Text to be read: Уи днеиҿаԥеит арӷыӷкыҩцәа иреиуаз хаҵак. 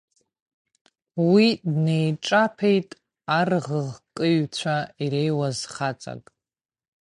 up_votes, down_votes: 0, 2